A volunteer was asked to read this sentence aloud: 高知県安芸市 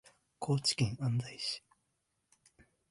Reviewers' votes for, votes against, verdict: 2, 0, accepted